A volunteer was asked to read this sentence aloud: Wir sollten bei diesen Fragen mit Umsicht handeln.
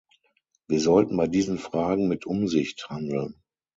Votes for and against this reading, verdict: 6, 0, accepted